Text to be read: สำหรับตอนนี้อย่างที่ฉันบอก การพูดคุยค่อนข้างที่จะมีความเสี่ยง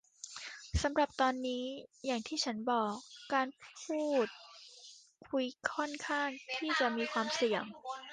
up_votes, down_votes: 2, 1